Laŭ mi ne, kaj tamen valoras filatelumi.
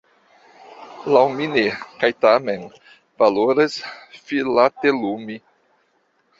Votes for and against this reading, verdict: 0, 2, rejected